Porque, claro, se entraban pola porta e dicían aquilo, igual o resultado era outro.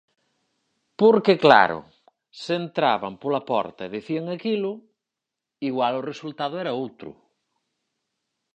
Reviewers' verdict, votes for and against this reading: accepted, 4, 0